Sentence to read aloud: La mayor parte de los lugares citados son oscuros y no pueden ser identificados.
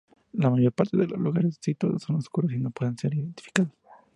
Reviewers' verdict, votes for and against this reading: accepted, 2, 0